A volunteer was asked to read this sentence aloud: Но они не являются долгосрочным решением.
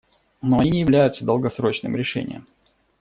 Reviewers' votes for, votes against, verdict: 1, 2, rejected